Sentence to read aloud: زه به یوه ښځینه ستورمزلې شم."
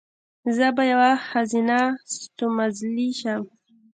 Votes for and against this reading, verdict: 1, 2, rejected